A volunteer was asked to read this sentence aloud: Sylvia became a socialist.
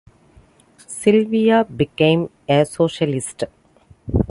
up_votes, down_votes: 2, 1